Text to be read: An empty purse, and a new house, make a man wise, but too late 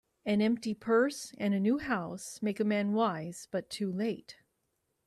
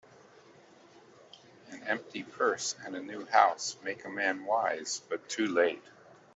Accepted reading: first